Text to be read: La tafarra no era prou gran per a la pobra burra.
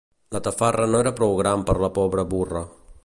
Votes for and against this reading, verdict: 1, 2, rejected